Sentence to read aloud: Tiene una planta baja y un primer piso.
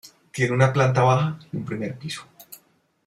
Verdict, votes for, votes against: rejected, 0, 2